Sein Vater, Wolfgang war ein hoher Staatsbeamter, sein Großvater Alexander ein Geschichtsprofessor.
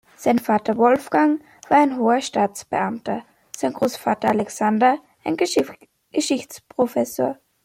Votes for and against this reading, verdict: 1, 2, rejected